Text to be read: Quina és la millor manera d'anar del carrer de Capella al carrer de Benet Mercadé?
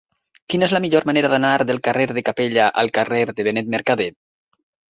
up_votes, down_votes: 4, 1